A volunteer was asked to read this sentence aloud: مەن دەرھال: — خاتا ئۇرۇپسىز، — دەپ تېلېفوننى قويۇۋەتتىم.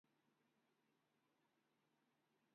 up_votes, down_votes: 0, 2